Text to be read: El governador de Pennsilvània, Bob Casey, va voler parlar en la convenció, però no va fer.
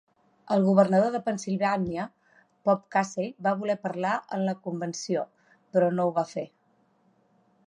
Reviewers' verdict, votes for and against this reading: rejected, 1, 2